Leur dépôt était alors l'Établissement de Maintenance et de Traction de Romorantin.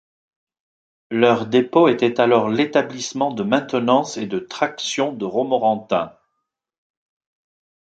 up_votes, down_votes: 2, 0